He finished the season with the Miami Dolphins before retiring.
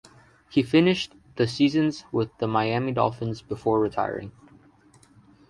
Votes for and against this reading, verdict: 0, 2, rejected